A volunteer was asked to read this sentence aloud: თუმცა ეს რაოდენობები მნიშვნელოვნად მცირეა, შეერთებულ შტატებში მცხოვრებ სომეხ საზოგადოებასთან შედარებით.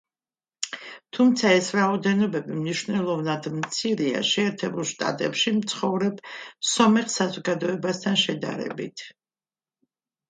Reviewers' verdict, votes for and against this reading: accepted, 2, 0